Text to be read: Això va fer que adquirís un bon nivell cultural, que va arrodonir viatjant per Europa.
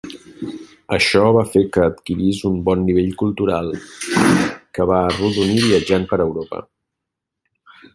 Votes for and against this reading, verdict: 0, 2, rejected